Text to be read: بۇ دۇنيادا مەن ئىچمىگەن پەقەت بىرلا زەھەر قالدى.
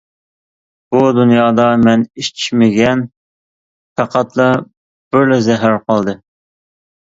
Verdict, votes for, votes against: rejected, 0, 2